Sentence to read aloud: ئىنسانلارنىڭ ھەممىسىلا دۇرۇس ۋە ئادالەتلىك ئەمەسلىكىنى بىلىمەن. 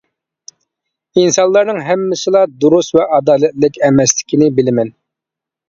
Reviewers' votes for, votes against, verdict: 2, 0, accepted